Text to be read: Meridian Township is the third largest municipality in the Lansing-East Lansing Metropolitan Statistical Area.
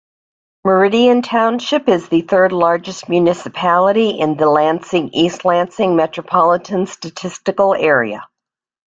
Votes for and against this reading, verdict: 2, 0, accepted